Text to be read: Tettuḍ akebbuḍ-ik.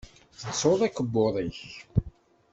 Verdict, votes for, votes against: accepted, 2, 0